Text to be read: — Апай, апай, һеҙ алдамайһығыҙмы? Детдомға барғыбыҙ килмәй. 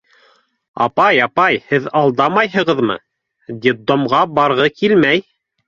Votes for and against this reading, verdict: 1, 2, rejected